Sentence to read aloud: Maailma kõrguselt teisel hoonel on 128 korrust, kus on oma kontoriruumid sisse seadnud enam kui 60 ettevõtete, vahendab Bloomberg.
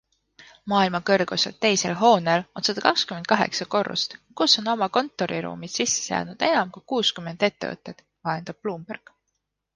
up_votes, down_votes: 0, 2